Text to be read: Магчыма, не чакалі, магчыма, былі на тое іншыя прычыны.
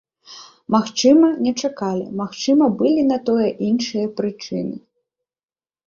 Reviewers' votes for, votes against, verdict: 1, 2, rejected